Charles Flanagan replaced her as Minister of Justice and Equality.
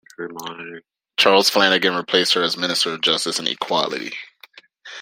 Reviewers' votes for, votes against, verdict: 1, 2, rejected